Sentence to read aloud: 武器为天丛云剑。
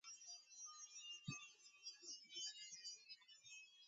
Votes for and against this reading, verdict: 1, 4, rejected